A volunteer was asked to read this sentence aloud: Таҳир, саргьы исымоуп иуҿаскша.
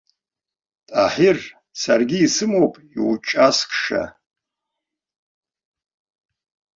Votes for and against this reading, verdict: 1, 2, rejected